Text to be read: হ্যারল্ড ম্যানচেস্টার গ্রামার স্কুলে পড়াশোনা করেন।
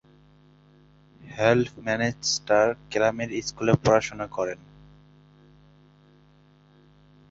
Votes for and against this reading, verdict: 0, 2, rejected